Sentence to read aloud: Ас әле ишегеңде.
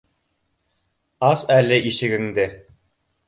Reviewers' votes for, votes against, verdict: 2, 0, accepted